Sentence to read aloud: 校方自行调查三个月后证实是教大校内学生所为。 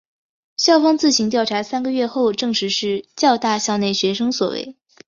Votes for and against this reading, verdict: 2, 0, accepted